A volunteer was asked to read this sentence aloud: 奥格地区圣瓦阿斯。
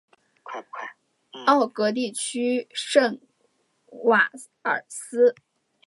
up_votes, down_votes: 1, 2